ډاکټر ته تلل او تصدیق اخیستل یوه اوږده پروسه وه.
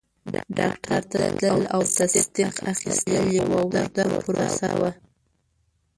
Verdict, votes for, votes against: rejected, 1, 2